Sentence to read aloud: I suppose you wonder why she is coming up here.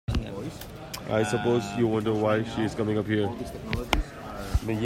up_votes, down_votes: 0, 2